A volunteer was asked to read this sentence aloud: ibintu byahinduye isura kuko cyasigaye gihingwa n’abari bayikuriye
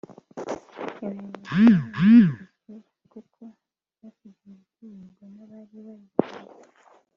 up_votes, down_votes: 0, 2